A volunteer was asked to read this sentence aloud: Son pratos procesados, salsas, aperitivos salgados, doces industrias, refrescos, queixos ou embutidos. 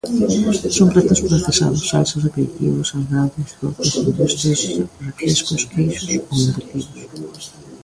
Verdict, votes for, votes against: rejected, 1, 2